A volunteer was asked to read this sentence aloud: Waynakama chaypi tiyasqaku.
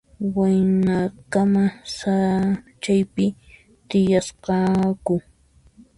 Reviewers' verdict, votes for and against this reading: rejected, 1, 2